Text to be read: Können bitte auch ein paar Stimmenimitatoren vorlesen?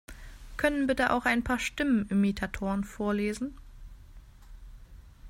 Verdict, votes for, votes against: accepted, 2, 0